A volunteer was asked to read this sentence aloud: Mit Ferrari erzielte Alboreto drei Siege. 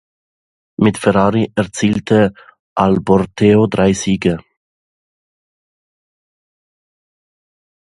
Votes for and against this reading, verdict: 0, 2, rejected